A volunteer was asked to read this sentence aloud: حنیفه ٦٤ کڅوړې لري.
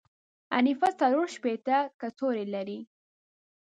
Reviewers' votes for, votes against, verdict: 0, 2, rejected